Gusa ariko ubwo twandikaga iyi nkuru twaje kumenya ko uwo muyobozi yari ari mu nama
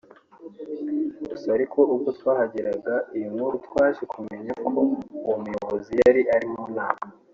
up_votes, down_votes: 1, 2